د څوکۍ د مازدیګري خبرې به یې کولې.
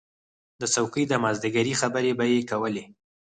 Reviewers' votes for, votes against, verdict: 0, 4, rejected